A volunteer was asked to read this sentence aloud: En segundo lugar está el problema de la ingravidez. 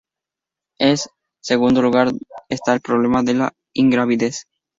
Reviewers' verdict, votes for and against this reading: accepted, 4, 0